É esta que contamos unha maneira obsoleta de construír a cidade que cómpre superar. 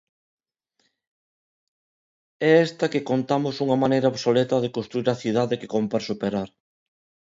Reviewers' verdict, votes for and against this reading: accepted, 2, 0